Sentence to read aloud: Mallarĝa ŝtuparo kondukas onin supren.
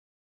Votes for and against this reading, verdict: 1, 3, rejected